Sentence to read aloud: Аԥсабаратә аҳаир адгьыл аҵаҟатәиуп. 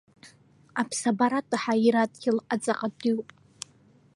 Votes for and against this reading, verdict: 1, 2, rejected